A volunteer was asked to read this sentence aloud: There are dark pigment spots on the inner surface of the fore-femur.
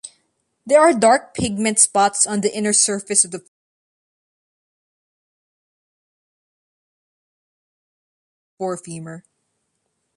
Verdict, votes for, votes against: rejected, 0, 2